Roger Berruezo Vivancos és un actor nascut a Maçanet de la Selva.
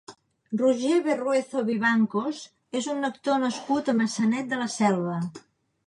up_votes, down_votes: 2, 0